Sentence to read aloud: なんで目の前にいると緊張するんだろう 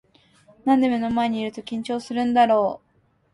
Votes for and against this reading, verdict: 13, 1, accepted